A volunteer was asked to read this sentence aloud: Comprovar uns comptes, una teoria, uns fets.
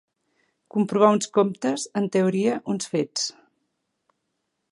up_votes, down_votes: 0, 2